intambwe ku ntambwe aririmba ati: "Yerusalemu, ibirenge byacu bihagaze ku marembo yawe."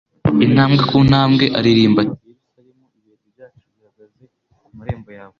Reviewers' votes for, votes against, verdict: 1, 2, rejected